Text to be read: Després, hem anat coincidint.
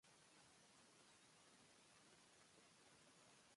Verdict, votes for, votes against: rejected, 1, 2